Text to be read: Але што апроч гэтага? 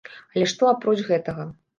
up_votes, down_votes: 2, 0